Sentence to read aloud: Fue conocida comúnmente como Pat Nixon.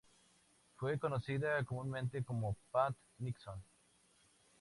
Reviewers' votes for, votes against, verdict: 2, 0, accepted